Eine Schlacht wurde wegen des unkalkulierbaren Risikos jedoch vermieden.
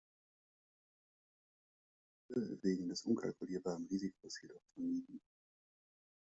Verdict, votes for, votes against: rejected, 0, 2